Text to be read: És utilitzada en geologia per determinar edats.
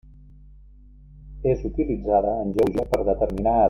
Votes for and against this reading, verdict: 0, 2, rejected